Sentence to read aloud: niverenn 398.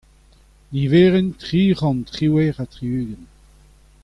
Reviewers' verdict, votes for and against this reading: rejected, 0, 2